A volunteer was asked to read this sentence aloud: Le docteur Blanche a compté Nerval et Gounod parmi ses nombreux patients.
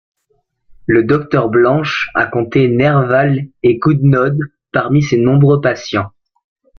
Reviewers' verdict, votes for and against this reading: rejected, 1, 2